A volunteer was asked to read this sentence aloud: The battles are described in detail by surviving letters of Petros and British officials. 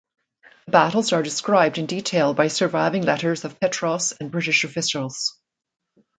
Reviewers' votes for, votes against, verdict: 0, 2, rejected